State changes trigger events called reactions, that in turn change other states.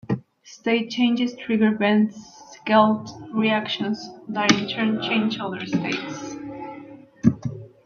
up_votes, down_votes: 2, 1